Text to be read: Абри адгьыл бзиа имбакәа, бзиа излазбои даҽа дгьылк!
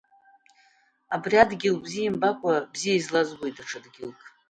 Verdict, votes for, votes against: accepted, 2, 0